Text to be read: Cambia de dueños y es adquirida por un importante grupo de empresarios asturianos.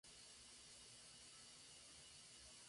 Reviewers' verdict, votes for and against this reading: rejected, 0, 2